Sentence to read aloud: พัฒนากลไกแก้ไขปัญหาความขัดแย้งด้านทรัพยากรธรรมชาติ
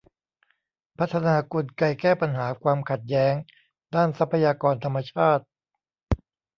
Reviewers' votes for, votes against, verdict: 0, 2, rejected